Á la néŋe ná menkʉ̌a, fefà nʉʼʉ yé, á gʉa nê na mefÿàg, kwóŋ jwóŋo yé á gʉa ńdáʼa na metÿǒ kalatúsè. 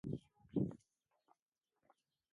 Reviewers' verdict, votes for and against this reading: rejected, 1, 2